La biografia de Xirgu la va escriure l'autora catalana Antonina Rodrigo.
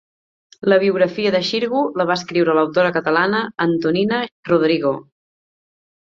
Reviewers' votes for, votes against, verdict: 3, 0, accepted